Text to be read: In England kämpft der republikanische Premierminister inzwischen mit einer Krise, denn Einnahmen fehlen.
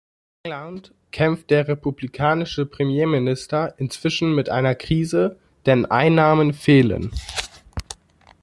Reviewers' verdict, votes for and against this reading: rejected, 0, 2